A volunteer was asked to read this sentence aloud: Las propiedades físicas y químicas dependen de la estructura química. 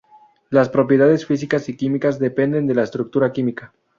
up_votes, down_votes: 0, 2